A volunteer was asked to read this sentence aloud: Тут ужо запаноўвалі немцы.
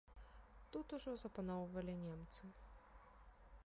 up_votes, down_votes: 0, 2